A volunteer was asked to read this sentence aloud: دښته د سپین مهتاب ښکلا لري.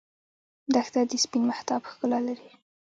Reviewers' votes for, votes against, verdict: 1, 2, rejected